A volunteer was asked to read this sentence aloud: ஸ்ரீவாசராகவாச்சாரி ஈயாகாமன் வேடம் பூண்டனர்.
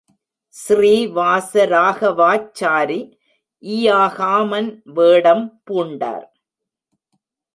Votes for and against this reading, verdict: 1, 2, rejected